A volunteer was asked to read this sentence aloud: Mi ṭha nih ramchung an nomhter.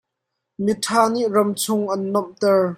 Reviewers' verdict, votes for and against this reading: accepted, 2, 0